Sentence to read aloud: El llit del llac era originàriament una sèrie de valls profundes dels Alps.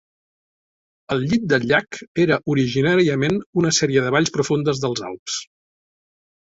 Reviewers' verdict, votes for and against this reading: accepted, 2, 0